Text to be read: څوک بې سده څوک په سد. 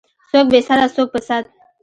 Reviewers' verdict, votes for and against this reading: accepted, 2, 0